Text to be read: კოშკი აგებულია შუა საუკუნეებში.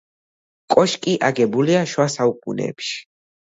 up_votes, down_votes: 2, 0